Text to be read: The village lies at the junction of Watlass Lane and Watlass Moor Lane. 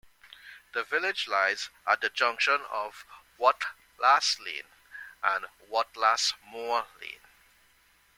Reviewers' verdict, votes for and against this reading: rejected, 1, 2